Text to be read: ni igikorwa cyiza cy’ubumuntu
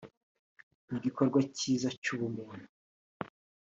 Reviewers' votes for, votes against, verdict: 2, 0, accepted